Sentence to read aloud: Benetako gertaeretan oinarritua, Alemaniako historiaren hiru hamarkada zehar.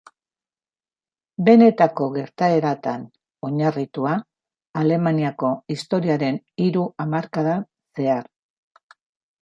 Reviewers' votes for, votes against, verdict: 0, 2, rejected